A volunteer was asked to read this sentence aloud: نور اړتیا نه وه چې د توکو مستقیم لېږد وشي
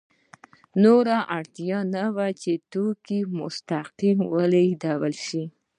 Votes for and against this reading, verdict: 2, 0, accepted